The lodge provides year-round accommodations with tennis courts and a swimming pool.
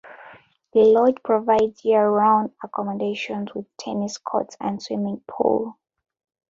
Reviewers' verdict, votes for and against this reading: rejected, 0, 2